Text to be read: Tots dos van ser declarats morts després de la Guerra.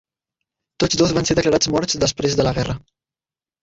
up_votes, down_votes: 0, 2